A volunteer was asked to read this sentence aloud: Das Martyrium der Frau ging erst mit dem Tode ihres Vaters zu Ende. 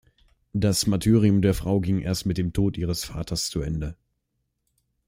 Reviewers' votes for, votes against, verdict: 1, 2, rejected